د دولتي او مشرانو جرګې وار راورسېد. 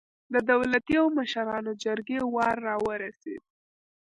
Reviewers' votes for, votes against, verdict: 0, 2, rejected